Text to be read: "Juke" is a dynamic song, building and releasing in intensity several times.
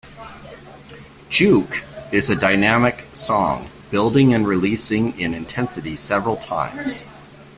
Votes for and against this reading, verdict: 2, 0, accepted